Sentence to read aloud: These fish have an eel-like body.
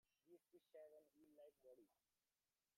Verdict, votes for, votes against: rejected, 0, 2